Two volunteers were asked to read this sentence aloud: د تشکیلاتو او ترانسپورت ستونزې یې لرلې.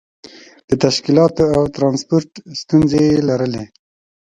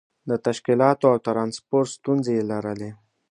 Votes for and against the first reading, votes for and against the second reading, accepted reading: 1, 2, 2, 0, second